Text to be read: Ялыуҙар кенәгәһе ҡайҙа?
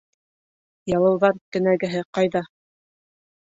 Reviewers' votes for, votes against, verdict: 3, 0, accepted